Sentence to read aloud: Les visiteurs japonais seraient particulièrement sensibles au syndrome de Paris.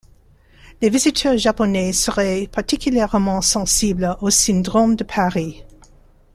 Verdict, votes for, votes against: rejected, 0, 2